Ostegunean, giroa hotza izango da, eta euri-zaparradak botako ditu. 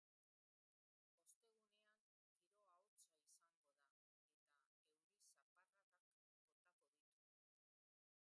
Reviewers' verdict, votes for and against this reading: rejected, 0, 3